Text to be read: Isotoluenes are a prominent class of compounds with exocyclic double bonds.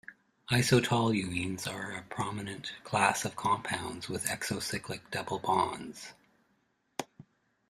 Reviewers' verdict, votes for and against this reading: accepted, 2, 0